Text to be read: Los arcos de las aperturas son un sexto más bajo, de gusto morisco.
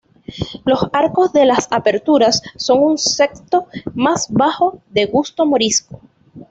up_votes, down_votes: 2, 0